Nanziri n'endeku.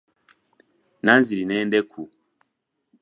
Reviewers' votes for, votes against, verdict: 2, 0, accepted